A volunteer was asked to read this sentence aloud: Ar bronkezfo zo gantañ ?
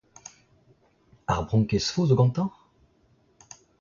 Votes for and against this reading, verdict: 2, 1, accepted